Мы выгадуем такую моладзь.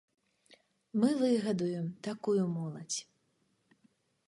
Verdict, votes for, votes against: accepted, 3, 0